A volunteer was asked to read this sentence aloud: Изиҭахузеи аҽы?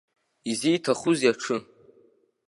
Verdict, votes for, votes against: accepted, 2, 0